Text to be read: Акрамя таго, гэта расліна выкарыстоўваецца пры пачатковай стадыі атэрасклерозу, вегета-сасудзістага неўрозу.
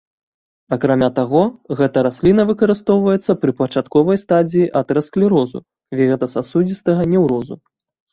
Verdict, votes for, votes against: rejected, 1, 2